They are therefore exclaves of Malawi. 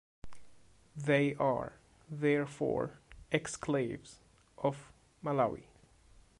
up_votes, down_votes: 1, 2